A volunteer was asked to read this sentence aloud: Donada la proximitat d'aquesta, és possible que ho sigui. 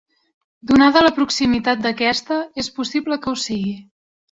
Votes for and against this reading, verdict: 4, 0, accepted